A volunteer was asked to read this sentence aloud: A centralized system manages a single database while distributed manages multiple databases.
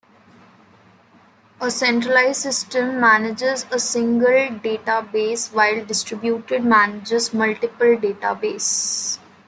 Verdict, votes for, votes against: rejected, 0, 2